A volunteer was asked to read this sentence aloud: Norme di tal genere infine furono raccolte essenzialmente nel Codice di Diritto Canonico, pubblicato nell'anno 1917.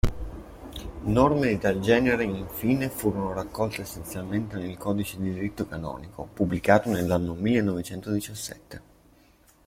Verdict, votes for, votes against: rejected, 0, 2